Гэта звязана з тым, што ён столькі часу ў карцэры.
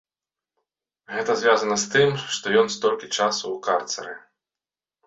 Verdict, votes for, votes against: rejected, 1, 2